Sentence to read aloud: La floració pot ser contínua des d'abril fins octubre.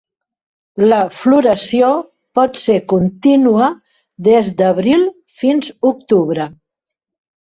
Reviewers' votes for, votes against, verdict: 4, 0, accepted